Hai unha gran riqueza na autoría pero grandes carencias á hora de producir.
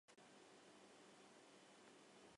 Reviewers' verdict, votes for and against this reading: rejected, 0, 2